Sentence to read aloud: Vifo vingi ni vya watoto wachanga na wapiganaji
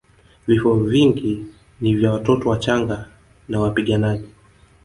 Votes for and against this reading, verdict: 3, 2, accepted